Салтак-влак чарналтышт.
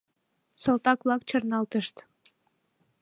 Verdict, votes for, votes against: accepted, 2, 0